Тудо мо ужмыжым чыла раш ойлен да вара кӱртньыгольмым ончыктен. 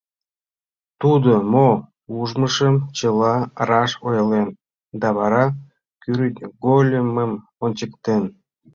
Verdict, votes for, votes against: rejected, 1, 2